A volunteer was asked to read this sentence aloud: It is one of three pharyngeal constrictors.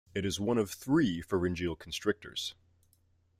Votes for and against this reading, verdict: 2, 0, accepted